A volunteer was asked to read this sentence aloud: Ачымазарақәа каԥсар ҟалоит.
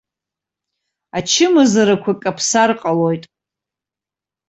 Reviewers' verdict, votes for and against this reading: accepted, 2, 0